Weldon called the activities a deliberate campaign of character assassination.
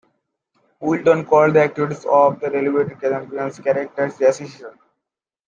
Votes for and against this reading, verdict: 0, 3, rejected